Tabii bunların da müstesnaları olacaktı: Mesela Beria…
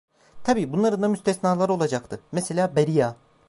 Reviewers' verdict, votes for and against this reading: accepted, 2, 0